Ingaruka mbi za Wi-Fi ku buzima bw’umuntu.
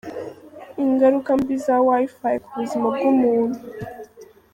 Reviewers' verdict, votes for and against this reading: rejected, 1, 2